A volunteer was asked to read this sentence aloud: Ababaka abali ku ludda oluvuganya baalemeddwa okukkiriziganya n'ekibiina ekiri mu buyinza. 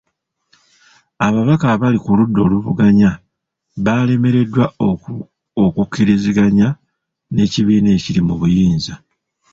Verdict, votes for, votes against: rejected, 1, 2